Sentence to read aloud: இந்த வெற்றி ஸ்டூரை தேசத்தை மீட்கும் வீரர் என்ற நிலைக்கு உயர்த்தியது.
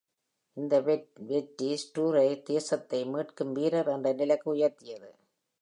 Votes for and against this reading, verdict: 1, 2, rejected